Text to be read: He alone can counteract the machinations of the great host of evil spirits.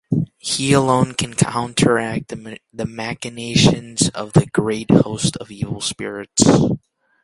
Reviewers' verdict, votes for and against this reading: accepted, 2, 0